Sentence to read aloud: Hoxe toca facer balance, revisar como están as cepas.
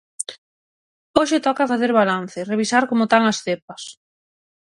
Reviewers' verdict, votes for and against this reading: rejected, 0, 6